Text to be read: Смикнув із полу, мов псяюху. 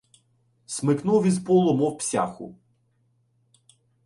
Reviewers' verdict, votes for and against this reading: rejected, 1, 2